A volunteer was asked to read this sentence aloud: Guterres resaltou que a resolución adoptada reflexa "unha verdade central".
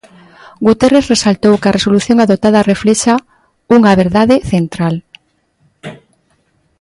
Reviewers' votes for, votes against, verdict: 2, 0, accepted